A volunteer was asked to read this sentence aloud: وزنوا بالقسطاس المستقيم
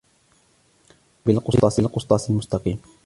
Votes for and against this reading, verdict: 2, 0, accepted